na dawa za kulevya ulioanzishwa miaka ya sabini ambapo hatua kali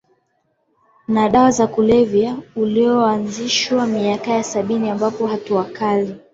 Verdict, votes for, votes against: accepted, 2, 0